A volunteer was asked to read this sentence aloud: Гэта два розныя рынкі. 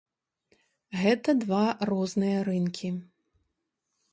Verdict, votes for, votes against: accepted, 4, 0